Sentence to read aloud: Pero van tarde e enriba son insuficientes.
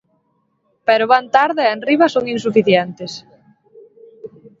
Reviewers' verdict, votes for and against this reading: accepted, 2, 0